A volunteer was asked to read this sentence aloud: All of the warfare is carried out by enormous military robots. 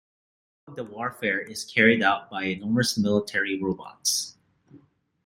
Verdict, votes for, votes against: rejected, 0, 2